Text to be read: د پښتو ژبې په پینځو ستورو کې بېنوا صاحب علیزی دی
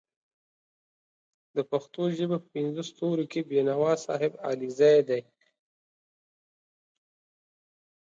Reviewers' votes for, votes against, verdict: 2, 0, accepted